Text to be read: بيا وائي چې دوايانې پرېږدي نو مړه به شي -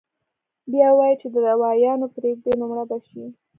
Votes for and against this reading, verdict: 2, 0, accepted